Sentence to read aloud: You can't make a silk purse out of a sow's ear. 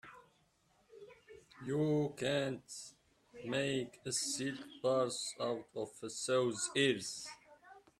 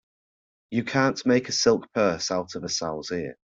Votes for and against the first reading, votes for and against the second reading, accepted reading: 0, 2, 2, 0, second